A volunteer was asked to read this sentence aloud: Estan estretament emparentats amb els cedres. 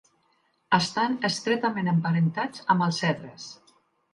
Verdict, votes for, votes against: accepted, 2, 0